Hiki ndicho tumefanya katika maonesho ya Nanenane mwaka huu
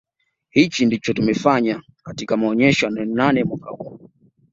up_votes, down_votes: 2, 0